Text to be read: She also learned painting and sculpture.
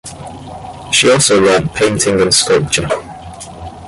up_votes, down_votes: 2, 0